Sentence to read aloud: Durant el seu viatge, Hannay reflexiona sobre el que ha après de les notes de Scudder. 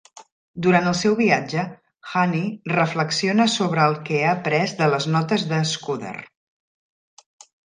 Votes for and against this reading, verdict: 2, 0, accepted